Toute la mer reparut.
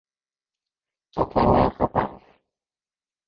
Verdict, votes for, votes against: rejected, 0, 2